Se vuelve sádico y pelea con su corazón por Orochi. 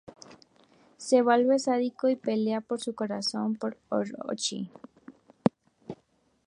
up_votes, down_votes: 0, 4